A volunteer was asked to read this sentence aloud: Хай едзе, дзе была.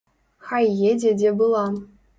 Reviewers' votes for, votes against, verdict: 2, 0, accepted